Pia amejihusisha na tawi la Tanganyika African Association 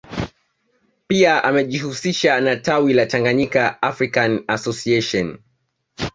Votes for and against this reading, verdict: 2, 0, accepted